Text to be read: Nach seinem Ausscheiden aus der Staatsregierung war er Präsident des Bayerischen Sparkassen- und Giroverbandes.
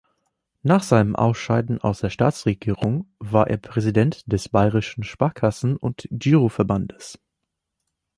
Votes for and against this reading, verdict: 2, 0, accepted